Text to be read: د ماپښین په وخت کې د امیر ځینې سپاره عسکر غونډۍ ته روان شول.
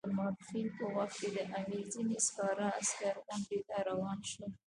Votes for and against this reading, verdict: 1, 2, rejected